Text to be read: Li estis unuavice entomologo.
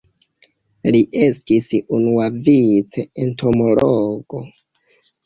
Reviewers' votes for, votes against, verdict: 1, 2, rejected